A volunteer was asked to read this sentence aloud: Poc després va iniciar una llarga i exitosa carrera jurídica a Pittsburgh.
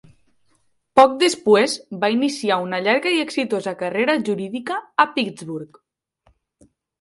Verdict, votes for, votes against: rejected, 1, 2